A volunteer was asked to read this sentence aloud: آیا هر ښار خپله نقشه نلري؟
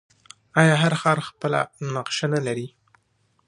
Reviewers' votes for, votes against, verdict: 2, 0, accepted